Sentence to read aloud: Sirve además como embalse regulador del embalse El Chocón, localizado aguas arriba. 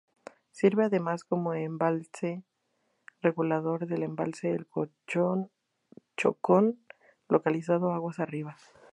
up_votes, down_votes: 0, 2